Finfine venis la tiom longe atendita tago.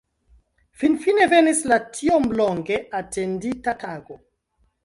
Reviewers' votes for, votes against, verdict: 2, 0, accepted